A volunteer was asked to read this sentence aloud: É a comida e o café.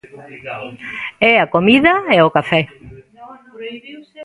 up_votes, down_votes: 1, 2